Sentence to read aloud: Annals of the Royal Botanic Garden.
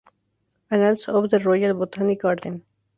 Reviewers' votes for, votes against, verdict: 0, 2, rejected